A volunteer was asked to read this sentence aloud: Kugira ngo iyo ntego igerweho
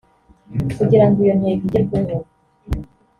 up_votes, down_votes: 2, 0